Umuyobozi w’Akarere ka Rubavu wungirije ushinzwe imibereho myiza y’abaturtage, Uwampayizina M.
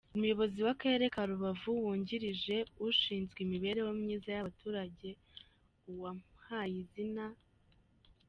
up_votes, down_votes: 1, 2